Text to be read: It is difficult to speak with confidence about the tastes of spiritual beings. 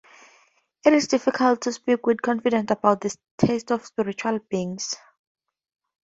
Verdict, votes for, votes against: accepted, 2, 0